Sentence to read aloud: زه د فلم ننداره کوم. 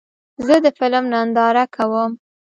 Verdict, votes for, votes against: accepted, 2, 0